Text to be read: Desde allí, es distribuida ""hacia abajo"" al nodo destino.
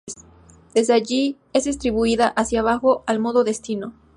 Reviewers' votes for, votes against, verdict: 2, 2, rejected